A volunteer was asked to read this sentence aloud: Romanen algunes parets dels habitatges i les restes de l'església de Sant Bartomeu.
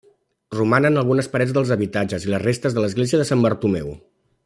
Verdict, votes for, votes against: accepted, 3, 0